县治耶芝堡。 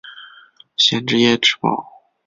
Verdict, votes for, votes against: accepted, 3, 1